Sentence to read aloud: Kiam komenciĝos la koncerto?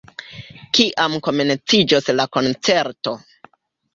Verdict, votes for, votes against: accepted, 2, 1